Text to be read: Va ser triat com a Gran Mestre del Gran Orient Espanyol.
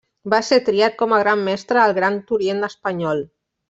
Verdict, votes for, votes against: rejected, 0, 2